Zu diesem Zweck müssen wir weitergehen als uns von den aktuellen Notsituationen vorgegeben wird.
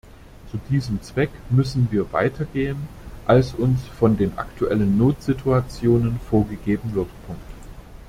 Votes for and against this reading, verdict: 1, 2, rejected